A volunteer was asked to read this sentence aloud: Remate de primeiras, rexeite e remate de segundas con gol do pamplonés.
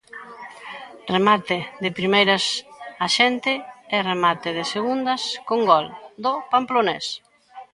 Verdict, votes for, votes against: rejected, 0, 3